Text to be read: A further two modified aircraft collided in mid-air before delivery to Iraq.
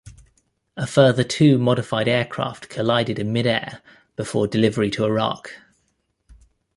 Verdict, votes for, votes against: accepted, 2, 0